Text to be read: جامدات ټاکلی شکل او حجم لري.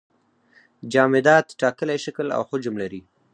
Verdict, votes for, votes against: accepted, 4, 0